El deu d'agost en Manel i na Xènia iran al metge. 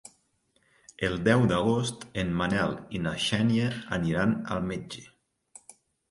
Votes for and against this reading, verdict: 0, 2, rejected